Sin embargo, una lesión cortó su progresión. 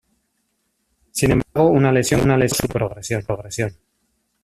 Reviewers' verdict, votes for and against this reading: rejected, 0, 2